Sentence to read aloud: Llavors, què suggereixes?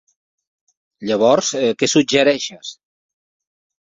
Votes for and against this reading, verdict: 1, 2, rejected